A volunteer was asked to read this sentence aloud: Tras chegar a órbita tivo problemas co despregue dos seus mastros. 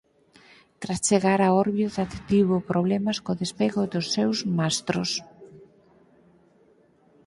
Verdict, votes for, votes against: rejected, 2, 4